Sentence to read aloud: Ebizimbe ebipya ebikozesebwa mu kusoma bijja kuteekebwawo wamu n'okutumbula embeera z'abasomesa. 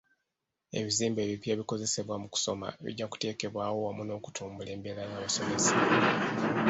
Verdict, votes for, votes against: rejected, 1, 2